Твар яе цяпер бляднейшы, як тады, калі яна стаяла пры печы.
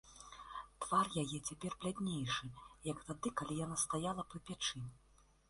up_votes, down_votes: 1, 2